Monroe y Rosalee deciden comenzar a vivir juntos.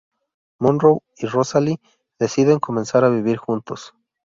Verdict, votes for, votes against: accepted, 2, 0